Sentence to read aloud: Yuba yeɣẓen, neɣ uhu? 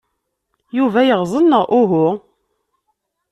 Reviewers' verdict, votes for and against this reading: accepted, 2, 0